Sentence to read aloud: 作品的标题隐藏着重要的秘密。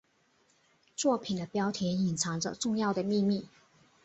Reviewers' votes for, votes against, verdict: 5, 1, accepted